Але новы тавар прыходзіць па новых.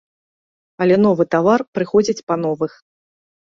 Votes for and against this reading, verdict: 2, 0, accepted